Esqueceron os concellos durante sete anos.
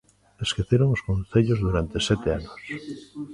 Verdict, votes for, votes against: accepted, 2, 0